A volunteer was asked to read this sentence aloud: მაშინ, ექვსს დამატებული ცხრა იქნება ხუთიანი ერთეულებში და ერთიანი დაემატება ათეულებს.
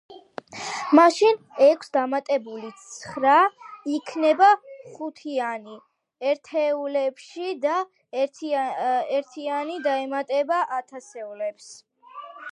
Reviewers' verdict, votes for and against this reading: rejected, 0, 2